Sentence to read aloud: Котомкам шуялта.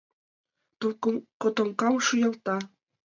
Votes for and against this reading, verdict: 1, 2, rejected